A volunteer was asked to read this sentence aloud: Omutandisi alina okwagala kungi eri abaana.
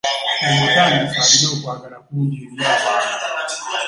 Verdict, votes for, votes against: rejected, 0, 2